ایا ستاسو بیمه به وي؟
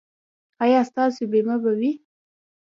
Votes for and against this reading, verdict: 2, 0, accepted